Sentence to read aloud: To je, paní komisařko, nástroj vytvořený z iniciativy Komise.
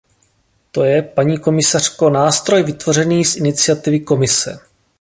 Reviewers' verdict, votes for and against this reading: accepted, 2, 0